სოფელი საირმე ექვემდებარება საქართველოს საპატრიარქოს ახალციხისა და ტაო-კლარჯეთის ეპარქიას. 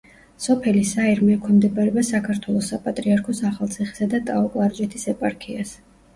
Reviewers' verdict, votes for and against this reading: accepted, 2, 0